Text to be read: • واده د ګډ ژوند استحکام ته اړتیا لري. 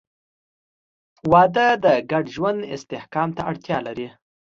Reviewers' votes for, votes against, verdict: 3, 0, accepted